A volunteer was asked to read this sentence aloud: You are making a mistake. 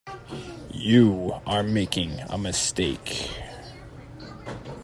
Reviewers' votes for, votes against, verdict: 0, 2, rejected